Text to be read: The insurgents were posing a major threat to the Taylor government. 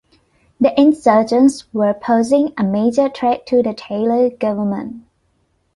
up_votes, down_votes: 2, 1